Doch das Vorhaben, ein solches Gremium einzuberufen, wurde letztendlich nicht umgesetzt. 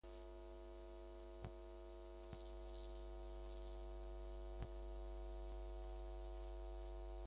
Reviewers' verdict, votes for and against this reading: rejected, 0, 2